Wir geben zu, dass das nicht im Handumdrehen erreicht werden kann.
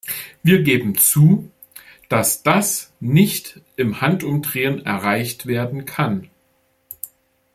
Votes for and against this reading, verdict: 2, 0, accepted